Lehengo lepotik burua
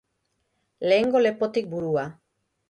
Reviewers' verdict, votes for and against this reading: accepted, 3, 0